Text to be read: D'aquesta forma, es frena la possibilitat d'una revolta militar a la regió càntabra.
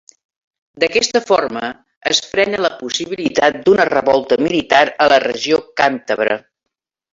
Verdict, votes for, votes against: accepted, 2, 1